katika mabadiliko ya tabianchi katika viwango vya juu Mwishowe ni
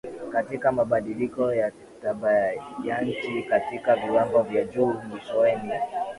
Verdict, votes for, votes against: accepted, 3, 1